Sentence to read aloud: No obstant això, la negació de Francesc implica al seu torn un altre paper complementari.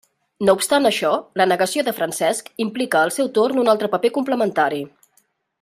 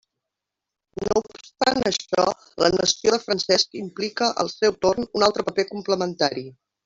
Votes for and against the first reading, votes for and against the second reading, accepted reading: 3, 0, 1, 2, first